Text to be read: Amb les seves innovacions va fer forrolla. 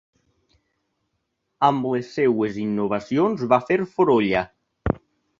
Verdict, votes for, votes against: rejected, 1, 2